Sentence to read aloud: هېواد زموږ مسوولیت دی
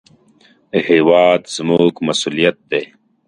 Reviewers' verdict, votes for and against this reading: accepted, 2, 0